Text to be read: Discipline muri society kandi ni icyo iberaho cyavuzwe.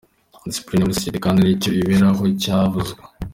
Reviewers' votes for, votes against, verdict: 2, 1, accepted